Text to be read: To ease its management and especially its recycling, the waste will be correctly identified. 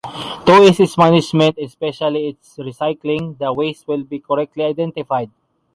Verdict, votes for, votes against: accepted, 2, 0